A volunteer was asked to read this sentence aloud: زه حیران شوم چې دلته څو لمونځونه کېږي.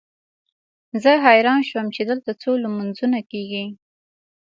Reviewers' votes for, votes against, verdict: 2, 0, accepted